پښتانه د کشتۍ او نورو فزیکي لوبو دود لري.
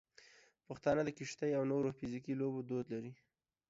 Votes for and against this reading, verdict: 2, 0, accepted